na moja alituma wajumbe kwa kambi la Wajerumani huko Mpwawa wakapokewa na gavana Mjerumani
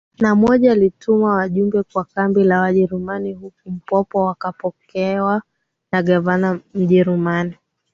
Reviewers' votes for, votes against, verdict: 2, 0, accepted